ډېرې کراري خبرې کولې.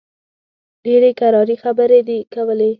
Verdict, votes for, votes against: rejected, 1, 2